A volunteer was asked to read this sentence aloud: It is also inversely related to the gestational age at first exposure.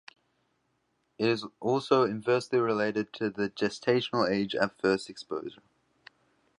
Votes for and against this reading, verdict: 2, 1, accepted